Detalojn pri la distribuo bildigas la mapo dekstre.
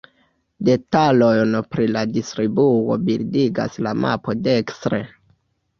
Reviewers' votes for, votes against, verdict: 0, 2, rejected